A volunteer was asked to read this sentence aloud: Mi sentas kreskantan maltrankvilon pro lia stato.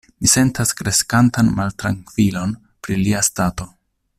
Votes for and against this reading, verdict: 1, 2, rejected